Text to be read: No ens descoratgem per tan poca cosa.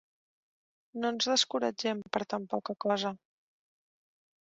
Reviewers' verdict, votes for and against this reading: accepted, 2, 0